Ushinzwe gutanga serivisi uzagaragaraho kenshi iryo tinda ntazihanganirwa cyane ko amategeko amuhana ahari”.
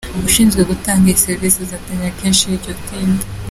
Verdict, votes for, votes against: rejected, 0, 2